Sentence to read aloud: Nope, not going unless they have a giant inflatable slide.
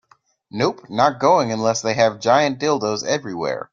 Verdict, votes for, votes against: rejected, 0, 2